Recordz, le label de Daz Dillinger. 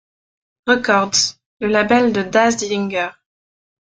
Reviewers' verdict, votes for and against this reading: rejected, 0, 2